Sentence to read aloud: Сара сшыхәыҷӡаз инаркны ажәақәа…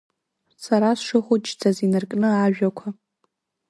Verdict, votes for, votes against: accepted, 2, 0